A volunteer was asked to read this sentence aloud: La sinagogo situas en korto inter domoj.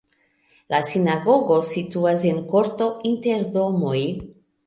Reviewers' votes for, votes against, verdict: 2, 1, accepted